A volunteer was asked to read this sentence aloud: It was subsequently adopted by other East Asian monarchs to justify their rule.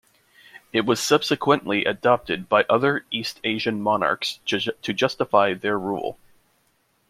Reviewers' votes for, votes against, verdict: 0, 2, rejected